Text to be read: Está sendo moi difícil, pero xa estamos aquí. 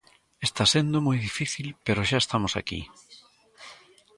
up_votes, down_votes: 2, 1